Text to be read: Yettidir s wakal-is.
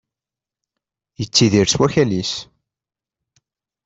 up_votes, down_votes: 2, 0